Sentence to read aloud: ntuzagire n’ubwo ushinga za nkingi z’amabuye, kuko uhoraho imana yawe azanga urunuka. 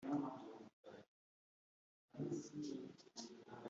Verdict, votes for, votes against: rejected, 1, 2